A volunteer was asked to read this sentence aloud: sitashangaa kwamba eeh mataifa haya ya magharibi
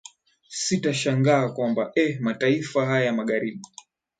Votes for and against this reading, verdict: 2, 1, accepted